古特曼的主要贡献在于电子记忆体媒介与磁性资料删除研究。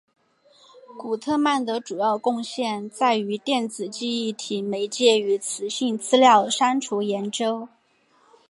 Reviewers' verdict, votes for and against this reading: accepted, 2, 0